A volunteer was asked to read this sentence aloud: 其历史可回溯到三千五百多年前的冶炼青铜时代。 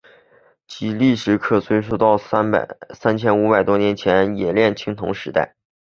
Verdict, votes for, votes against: rejected, 3, 4